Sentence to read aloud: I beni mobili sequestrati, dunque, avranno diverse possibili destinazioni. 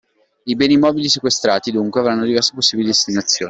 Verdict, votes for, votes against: rejected, 0, 2